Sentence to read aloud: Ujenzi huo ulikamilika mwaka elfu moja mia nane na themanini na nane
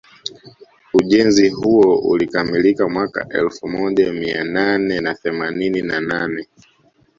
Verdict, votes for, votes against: rejected, 1, 2